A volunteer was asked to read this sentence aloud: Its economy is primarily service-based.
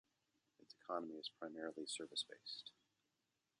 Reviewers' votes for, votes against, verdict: 2, 1, accepted